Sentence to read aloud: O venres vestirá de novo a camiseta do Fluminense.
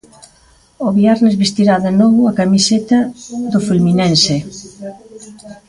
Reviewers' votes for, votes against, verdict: 0, 2, rejected